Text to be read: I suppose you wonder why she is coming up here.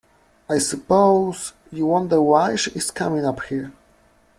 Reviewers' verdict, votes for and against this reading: accepted, 2, 1